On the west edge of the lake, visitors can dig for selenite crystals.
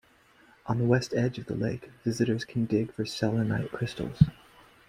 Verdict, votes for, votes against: accepted, 2, 0